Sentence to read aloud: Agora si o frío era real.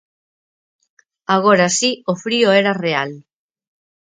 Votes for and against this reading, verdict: 4, 0, accepted